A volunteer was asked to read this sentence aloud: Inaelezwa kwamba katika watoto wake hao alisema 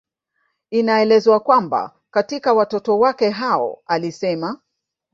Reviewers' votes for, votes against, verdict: 0, 2, rejected